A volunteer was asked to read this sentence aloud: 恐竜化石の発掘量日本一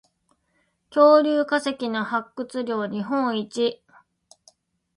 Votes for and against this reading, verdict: 2, 0, accepted